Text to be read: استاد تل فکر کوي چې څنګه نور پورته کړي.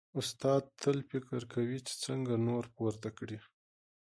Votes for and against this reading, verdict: 2, 0, accepted